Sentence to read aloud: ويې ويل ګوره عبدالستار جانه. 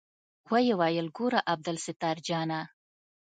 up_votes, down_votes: 2, 0